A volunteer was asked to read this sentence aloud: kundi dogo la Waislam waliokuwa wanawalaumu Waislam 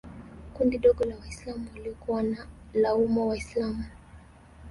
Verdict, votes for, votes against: accepted, 2, 0